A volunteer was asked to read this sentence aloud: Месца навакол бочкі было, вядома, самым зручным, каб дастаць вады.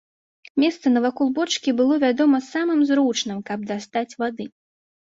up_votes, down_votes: 2, 0